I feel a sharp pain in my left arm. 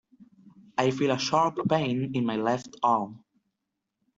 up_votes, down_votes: 2, 1